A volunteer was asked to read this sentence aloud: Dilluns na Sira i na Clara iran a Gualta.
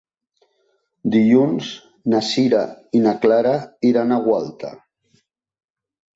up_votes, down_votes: 2, 0